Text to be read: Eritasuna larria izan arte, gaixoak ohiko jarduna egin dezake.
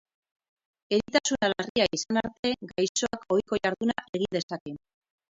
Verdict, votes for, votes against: rejected, 0, 4